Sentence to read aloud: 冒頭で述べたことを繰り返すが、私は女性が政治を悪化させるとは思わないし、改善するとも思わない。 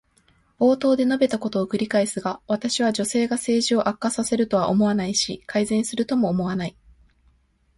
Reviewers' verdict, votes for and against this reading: accepted, 2, 0